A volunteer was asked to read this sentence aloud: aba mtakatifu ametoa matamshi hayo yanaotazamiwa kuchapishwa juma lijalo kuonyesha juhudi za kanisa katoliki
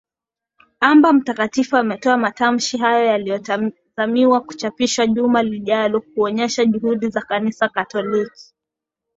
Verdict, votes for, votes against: rejected, 2, 3